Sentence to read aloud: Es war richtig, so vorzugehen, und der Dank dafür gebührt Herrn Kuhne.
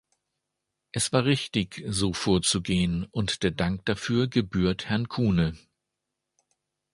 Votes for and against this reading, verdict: 2, 0, accepted